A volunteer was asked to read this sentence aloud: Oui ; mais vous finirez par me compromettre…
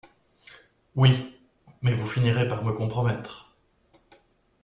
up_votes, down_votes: 2, 0